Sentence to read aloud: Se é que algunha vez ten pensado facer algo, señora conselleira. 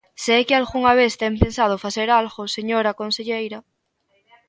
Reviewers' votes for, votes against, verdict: 1, 2, rejected